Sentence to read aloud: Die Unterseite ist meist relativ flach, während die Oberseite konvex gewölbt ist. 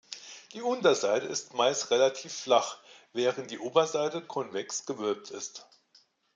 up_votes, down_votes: 2, 0